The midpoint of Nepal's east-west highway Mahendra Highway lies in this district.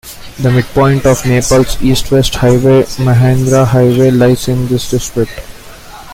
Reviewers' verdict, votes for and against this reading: accepted, 2, 1